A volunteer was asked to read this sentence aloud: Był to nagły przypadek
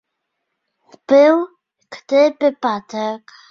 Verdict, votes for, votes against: rejected, 0, 2